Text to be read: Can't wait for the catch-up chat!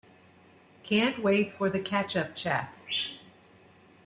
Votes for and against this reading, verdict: 2, 0, accepted